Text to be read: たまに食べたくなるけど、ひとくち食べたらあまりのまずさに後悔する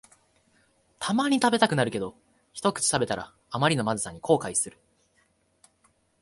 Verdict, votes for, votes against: accepted, 2, 0